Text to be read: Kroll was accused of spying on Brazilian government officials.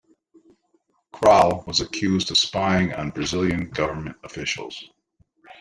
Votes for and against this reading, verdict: 2, 0, accepted